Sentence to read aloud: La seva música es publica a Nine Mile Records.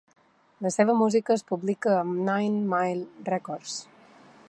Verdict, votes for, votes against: accepted, 2, 0